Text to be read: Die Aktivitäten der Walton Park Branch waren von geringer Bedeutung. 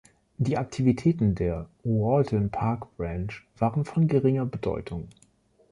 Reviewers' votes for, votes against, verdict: 2, 0, accepted